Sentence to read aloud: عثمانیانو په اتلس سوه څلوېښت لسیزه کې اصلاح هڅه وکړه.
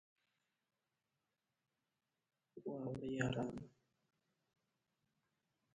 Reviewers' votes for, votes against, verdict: 0, 2, rejected